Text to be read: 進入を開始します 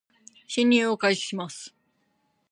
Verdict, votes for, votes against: accepted, 2, 0